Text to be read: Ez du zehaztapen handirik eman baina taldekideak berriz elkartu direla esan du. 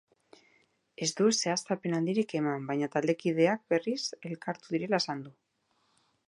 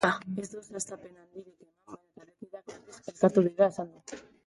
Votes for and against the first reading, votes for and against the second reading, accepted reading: 4, 0, 0, 3, first